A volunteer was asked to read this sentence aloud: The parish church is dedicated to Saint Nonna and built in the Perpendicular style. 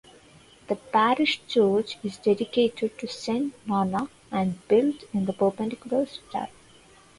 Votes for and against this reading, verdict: 0, 2, rejected